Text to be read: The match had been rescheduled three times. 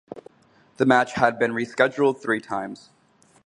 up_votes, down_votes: 0, 2